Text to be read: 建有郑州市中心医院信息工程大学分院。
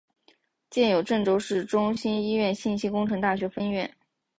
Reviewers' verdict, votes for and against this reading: accepted, 6, 0